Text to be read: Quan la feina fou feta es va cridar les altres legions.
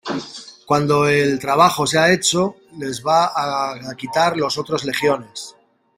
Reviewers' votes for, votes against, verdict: 0, 2, rejected